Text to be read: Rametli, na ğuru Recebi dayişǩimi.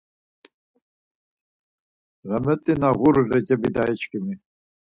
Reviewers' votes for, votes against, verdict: 2, 4, rejected